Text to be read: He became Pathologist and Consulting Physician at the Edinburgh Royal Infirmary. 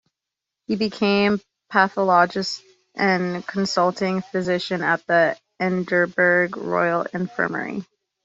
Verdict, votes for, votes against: rejected, 3, 3